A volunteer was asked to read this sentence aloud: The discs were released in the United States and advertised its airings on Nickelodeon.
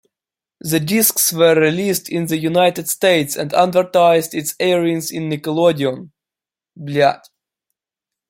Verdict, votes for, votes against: rejected, 0, 2